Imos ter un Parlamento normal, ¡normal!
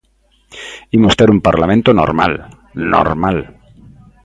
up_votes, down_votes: 2, 0